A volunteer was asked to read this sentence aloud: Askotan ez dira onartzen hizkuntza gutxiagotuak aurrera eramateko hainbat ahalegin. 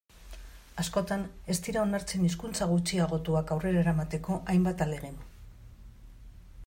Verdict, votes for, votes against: accepted, 2, 0